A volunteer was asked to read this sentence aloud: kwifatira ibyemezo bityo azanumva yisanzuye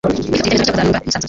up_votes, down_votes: 0, 2